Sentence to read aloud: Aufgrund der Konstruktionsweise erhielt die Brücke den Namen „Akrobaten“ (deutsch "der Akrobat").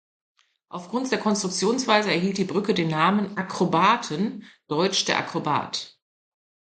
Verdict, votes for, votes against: accepted, 2, 0